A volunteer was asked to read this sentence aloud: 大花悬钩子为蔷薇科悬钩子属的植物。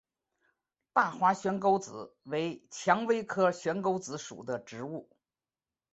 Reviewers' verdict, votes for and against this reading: rejected, 1, 2